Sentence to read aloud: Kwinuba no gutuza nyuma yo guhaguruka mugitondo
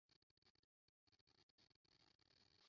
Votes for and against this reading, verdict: 0, 2, rejected